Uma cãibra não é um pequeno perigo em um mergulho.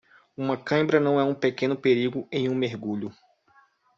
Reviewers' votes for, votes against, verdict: 2, 0, accepted